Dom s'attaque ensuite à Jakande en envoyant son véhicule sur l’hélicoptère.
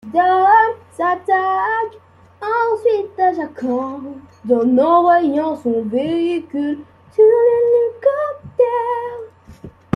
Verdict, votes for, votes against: accepted, 2, 0